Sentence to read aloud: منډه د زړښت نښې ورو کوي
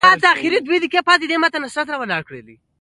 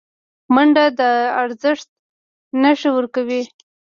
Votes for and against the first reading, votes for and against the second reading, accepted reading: 2, 0, 1, 2, first